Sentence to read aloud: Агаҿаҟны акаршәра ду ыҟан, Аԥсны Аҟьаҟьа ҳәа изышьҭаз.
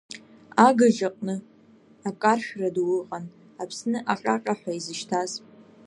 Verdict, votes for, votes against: rejected, 2, 3